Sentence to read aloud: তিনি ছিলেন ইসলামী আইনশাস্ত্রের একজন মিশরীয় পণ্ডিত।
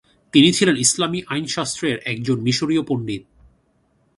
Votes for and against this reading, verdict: 2, 0, accepted